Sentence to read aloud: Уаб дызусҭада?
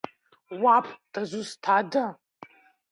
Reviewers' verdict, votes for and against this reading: rejected, 0, 2